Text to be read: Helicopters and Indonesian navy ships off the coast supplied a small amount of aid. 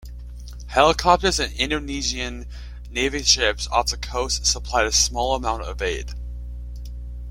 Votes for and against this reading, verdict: 2, 0, accepted